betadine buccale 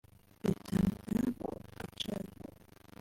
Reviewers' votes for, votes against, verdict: 1, 3, rejected